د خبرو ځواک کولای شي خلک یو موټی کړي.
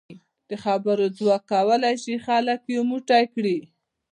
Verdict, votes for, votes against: rejected, 1, 2